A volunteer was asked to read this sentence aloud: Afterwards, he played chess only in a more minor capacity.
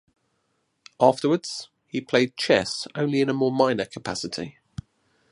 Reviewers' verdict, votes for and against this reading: accepted, 2, 0